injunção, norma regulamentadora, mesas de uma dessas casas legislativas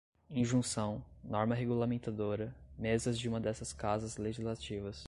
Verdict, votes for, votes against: accepted, 2, 0